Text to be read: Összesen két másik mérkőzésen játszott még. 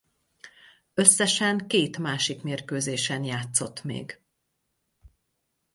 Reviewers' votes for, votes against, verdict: 4, 0, accepted